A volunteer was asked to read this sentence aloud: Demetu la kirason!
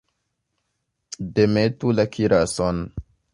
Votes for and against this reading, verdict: 1, 2, rejected